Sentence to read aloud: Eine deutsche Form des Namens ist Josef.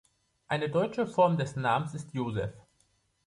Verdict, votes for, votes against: accepted, 2, 0